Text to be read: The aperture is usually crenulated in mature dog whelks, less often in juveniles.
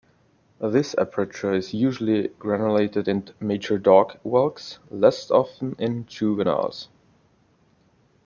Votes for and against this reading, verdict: 1, 2, rejected